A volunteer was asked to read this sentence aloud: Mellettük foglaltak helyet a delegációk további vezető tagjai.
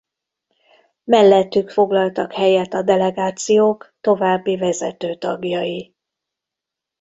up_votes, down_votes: 2, 0